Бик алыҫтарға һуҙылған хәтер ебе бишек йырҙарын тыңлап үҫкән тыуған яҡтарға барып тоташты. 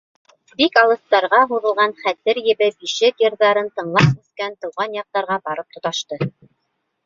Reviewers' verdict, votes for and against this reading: accepted, 2, 0